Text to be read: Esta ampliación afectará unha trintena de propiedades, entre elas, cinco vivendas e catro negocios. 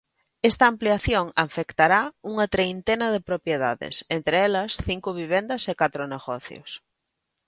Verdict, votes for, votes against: rejected, 0, 2